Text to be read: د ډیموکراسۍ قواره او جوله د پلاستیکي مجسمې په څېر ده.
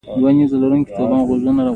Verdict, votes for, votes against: accepted, 2, 0